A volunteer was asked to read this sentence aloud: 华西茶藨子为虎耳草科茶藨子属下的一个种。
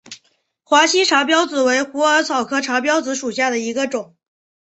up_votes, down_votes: 4, 0